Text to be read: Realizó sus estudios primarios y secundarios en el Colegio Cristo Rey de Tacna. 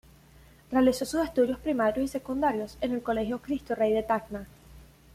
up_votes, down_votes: 2, 1